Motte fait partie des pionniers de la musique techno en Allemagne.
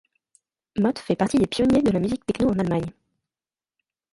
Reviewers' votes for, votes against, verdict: 1, 2, rejected